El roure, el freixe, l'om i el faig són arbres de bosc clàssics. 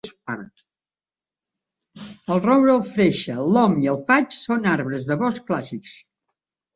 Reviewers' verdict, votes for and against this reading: rejected, 1, 2